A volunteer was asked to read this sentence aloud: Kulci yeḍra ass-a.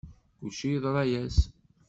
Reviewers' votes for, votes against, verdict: 1, 2, rejected